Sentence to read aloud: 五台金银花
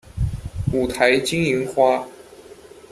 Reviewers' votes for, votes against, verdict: 2, 0, accepted